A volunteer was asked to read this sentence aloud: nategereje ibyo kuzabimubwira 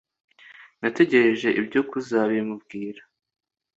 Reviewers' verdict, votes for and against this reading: accepted, 2, 0